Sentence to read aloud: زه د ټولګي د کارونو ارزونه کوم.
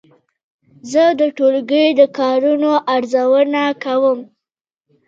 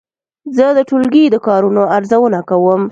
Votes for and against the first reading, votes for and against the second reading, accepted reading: 1, 2, 2, 0, second